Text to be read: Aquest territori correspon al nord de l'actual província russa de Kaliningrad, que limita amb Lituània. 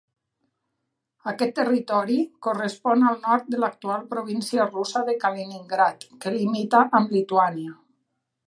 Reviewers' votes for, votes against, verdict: 2, 0, accepted